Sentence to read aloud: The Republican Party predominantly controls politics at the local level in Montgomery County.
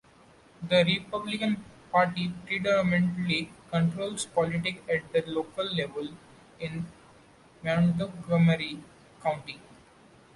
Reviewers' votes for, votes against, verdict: 1, 2, rejected